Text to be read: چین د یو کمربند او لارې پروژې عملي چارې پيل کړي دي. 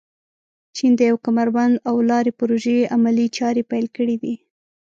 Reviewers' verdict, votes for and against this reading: accepted, 2, 0